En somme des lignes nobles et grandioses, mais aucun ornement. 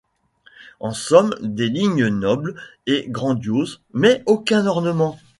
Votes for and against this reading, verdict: 1, 2, rejected